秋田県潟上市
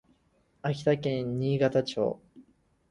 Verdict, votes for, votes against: rejected, 0, 4